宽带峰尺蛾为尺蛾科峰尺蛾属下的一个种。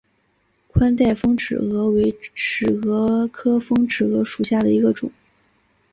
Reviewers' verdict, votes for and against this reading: accepted, 3, 1